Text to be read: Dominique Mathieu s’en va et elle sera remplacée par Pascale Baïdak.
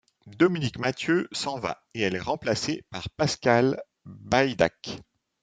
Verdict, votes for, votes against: rejected, 0, 2